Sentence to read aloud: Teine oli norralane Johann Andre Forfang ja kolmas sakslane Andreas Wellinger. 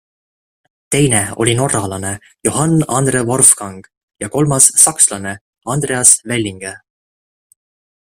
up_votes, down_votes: 2, 0